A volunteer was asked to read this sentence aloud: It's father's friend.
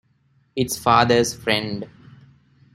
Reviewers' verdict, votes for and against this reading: accepted, 2, 0